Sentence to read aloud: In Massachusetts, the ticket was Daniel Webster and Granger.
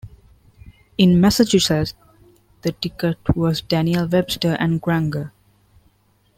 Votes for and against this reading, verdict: 2, 1, accepted